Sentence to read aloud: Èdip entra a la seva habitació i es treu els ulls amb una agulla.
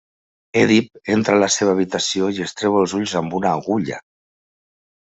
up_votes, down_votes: 3, 0